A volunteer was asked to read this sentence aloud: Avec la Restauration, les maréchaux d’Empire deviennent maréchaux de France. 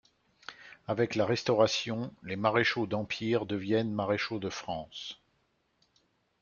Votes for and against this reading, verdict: 2, 0, accepted